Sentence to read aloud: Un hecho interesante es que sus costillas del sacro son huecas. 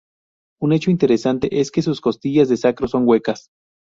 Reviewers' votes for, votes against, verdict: 0, 2, rejected